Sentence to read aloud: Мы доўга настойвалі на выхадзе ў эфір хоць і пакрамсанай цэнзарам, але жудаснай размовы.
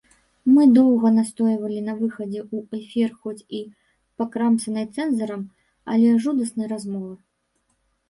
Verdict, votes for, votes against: rejected, 1, 2